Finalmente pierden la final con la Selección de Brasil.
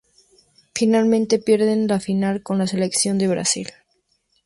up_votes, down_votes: 2, 0